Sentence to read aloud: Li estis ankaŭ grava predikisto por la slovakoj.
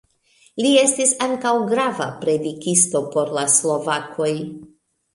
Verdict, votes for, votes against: accepted, 2, 1